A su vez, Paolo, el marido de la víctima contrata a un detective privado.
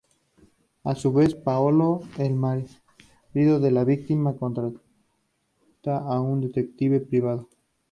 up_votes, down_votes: 0, 2